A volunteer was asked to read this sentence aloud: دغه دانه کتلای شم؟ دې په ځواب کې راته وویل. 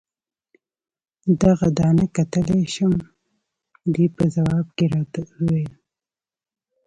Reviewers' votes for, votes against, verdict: 3, 0, accepted